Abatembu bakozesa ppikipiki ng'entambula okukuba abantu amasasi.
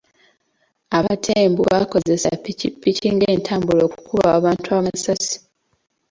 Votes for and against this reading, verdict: 2, 0, accepted